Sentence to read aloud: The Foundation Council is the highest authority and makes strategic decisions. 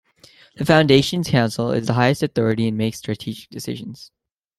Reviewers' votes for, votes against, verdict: 2, 0, accepted